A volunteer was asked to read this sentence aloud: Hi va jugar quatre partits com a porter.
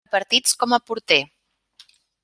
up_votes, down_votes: 0, 2